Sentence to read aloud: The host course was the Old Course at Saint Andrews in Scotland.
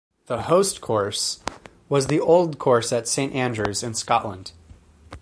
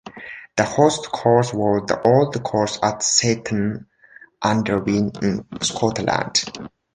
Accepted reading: first